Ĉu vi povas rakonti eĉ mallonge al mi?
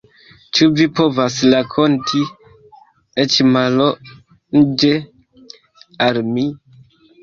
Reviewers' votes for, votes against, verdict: 0, 2, rejected